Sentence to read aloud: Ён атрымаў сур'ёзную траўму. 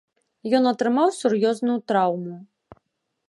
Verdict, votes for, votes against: accepted, 3, 1